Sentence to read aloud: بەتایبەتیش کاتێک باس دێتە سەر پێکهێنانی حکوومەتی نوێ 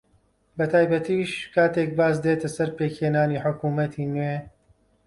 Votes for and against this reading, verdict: 2, 0, accepted